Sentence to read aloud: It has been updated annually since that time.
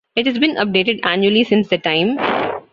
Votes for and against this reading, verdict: 2, 0, accepted